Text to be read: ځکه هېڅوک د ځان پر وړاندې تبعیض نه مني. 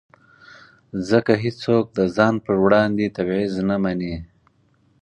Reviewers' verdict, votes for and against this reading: accepted, 4, 0